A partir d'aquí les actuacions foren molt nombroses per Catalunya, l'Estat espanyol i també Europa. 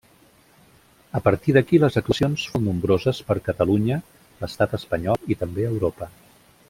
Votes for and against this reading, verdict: 0, 2, rejected